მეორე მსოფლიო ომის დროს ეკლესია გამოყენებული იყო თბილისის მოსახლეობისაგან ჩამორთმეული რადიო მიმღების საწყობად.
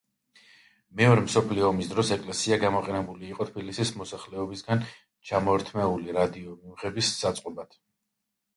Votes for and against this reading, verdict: 0, 2, rejected